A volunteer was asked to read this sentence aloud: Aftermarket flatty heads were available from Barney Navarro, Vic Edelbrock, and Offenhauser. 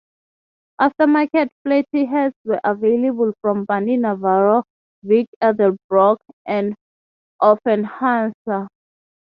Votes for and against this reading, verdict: 3, 0, accepted